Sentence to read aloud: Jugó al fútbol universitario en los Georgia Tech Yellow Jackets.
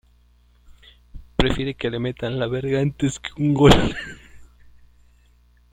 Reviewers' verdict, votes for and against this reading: rejected, 0, 2